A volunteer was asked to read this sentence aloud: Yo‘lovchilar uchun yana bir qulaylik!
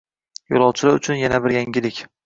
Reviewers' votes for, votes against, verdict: 1, 2, rejected